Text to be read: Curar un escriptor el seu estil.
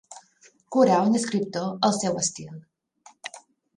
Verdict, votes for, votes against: accepted, 3, 0